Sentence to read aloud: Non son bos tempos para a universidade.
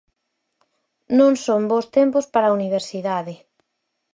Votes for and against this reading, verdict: 4, 0, accepted